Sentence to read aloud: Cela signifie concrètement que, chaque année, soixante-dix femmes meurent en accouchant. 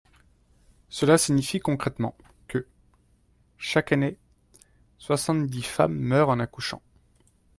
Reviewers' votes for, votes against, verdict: 1, 2, rejected